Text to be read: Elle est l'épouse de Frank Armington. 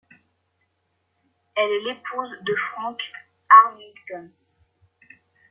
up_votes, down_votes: 2, 0